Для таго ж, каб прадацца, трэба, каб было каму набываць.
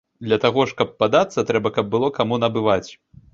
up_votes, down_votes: 0, 2